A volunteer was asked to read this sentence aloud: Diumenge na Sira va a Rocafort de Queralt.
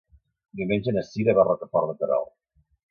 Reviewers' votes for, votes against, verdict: 2, 0, accepted